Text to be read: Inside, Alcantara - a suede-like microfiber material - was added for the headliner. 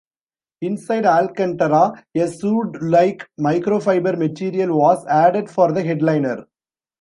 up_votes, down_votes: 0, 2